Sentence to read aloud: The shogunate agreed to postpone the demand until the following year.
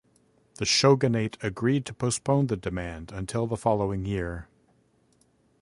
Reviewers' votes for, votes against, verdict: 5, 0, accepted